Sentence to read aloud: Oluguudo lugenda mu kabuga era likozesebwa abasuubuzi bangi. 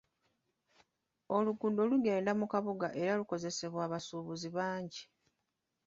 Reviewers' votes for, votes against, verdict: 2, 0, accepted